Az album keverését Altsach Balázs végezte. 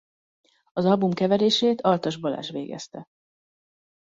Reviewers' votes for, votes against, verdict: 1, 2, rejected